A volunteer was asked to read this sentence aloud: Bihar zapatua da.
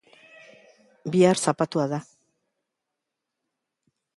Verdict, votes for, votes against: accepted, 2, 0